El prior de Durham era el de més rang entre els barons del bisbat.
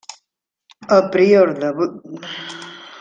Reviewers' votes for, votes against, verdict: 0, 2, rejected